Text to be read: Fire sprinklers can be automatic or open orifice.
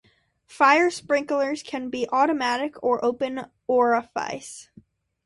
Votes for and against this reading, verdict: 2, 0, accepted